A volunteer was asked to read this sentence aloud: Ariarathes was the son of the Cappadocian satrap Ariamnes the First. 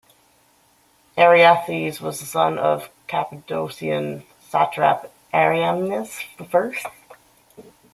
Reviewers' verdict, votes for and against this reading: rejected, 0, 2